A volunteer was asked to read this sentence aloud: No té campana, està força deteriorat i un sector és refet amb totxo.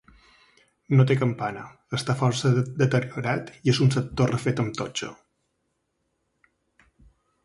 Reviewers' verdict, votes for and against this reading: rejected, 1, 2